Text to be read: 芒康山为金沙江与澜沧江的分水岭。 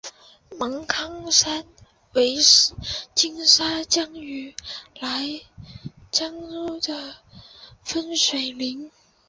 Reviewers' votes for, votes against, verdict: 1, 2, rejected